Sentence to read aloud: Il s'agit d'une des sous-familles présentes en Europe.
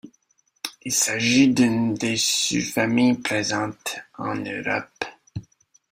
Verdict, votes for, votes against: accepted, 2, 0